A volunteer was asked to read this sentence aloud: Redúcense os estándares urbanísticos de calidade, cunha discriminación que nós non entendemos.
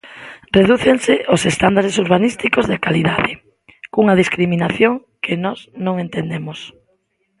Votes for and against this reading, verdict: 2, 0, accepted